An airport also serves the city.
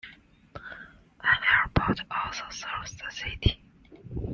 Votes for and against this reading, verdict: 2, 0, accepted